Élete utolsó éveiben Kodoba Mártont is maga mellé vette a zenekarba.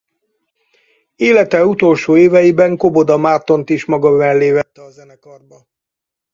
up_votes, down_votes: 0, 4